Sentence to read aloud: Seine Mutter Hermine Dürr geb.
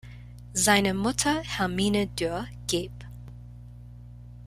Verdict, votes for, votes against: accepted, 2, 0